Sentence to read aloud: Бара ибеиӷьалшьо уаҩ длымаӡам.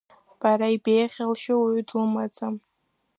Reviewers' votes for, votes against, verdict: 0, 2, rejected